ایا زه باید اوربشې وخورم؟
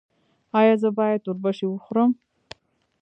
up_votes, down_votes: 2, 1